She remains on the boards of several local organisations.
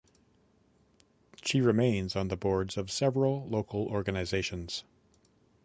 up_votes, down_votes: 2, 0